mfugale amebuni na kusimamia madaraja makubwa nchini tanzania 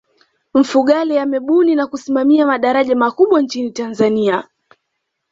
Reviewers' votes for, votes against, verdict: 2, 1, accepted